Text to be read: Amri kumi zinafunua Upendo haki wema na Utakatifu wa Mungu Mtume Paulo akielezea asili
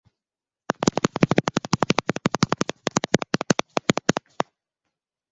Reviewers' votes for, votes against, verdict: 0, 2, rejected